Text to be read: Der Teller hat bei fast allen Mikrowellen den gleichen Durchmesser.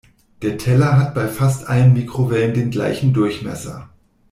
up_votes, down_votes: 2, 0